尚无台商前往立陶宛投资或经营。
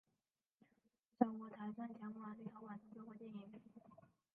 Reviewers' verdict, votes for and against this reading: rejected, 0, 2